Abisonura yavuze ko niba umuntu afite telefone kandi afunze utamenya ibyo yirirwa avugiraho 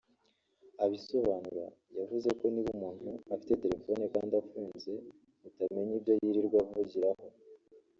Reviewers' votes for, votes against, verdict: 2, 0, accepted